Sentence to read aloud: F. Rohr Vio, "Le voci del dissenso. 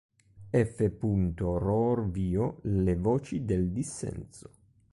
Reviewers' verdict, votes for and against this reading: rejected, 1, 2